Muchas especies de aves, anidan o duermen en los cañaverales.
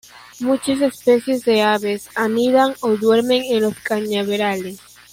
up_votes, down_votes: 0, 2